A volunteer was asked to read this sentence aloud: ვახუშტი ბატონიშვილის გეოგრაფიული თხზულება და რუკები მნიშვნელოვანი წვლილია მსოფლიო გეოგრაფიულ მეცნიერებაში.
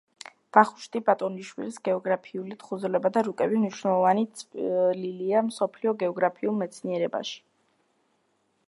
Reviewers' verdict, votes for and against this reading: accepted, 2, 1